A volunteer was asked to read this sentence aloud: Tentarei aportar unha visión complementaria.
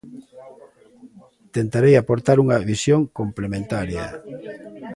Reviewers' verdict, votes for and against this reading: accepted, 2, 1